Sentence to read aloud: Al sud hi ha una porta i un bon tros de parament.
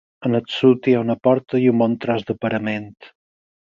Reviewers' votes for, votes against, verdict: 4, 2, accepted